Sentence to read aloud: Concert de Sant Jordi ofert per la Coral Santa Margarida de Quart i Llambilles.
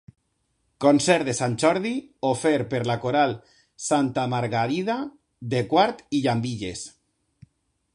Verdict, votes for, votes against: accepted, 2, 0